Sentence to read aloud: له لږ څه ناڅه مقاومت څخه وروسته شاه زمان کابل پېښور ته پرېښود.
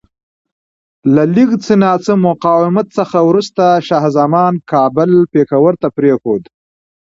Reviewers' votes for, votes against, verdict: 2, 0, accepted